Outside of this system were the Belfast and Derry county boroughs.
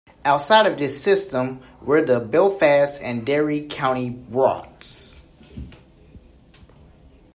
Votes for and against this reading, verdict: 2, 3, rejected